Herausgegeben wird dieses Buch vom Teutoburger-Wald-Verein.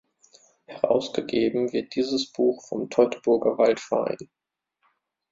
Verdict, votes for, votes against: accepted, 2, 0